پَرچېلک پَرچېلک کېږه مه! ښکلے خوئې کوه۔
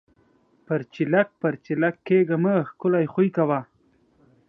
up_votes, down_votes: 2, 1